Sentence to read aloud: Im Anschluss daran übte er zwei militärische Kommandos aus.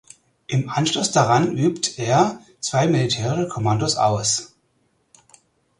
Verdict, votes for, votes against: rejected, 0, 4